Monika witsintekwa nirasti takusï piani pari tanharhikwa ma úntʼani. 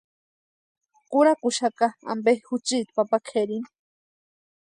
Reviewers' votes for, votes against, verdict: 0, 2, rejected